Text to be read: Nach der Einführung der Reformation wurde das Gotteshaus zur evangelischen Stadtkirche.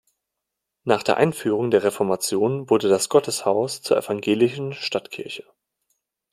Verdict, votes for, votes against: rejected, 1, 2